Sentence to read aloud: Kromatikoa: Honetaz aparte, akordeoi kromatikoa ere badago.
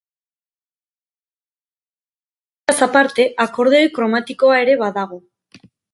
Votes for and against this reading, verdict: 0, 4, rejected